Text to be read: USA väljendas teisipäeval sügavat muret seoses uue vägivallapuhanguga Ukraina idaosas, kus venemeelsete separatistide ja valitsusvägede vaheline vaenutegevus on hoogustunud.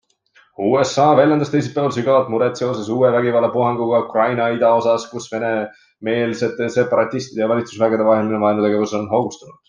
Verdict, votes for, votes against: accepted, 2, 0